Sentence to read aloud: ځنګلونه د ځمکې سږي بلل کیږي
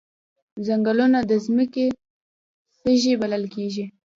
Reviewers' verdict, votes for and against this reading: accepted, 2, 0